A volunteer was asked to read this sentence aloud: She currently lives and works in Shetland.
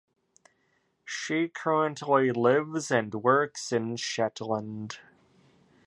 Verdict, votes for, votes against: accepted, 2, 0